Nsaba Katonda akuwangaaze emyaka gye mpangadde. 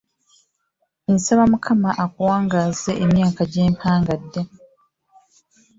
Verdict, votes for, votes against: rejected, 0, 2